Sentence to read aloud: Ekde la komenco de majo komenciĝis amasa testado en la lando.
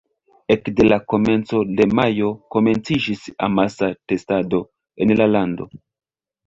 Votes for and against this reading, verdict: 2, 0, accepted